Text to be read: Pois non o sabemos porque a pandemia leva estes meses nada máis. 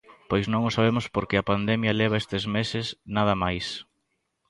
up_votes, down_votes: 2, 0